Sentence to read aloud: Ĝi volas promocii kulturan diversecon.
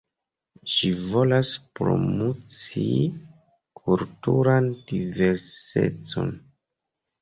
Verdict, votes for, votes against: rejected, 1, 2